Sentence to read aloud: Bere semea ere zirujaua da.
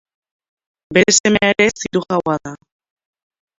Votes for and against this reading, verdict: 0, 2, rejected